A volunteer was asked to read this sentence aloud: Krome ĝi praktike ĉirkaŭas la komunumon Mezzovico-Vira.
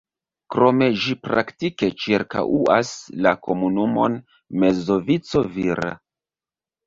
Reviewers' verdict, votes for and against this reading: accepted, 2, 1